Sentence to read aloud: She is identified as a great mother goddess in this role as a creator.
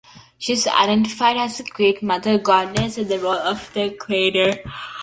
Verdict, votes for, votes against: rejected, 0, 2